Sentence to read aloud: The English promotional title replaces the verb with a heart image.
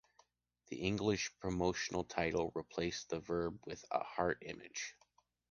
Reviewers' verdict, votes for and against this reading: rejected, 0, 2